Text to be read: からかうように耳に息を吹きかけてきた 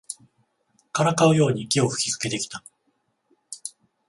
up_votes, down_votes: 0, 14